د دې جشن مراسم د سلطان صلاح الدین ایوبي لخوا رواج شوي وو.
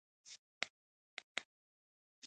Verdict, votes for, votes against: rejected, 1, 2